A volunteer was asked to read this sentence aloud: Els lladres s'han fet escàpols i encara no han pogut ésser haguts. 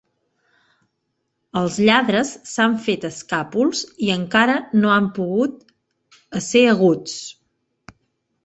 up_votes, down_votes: 1, 2